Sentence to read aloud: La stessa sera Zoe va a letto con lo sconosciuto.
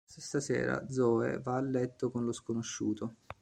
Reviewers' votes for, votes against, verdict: 1, 2, rejected